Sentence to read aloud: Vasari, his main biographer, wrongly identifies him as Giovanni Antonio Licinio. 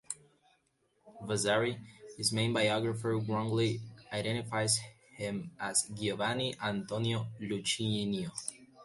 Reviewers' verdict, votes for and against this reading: accepted, 2, 1